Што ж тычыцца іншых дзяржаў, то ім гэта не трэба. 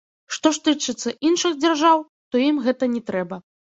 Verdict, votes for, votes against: rejected, 1, 2